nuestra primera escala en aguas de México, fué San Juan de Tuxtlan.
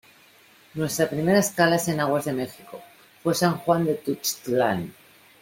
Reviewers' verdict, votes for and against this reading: rejected, 0, 2